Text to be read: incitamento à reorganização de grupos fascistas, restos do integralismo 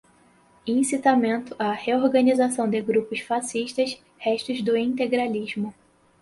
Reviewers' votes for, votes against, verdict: 4, 2, accepted